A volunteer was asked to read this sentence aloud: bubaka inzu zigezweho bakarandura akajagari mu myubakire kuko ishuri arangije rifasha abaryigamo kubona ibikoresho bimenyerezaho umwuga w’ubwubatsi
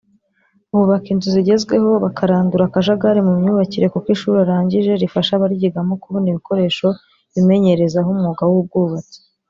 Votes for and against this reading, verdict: 0, 2, rejected